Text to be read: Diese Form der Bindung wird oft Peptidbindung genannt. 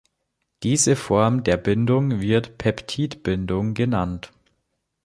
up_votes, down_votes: 0, 2